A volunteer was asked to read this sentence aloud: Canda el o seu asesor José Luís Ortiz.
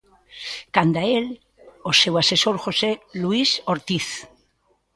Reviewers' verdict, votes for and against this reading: accepted, 2, 0